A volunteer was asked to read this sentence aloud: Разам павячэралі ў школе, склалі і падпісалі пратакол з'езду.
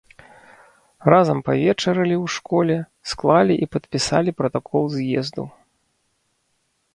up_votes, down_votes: 1, 2